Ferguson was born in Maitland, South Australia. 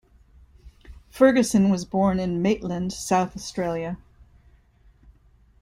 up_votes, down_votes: 2, 0